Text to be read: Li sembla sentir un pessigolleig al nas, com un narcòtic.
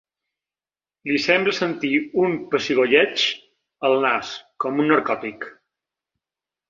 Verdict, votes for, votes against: accepted, 2, 0